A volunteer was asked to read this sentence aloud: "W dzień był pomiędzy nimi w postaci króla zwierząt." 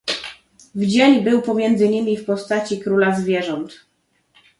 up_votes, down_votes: 1, 2